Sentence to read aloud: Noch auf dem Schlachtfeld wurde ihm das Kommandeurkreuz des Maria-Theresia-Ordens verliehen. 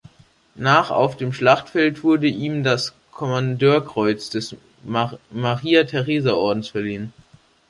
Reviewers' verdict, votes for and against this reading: rejected, 0, 3